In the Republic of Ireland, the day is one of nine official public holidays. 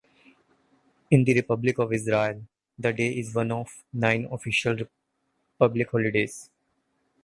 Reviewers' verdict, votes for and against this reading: rejected, 1, 2